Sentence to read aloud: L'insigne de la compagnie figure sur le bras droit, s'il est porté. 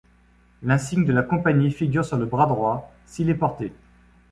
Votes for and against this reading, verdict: 2, 0, accepted